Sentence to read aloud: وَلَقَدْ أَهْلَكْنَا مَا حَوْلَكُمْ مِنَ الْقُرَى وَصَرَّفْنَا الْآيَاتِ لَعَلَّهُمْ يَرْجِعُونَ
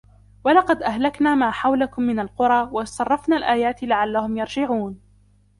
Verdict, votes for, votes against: accepted, 2, 0